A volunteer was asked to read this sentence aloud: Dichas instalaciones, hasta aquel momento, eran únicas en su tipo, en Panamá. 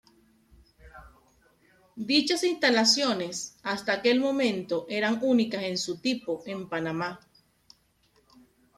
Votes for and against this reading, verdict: 2, 0, accepted